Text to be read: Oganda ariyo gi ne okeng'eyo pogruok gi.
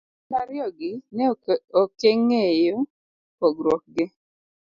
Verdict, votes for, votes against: rejected, 1, 2